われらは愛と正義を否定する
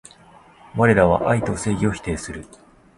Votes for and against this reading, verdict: 2, 0, accepted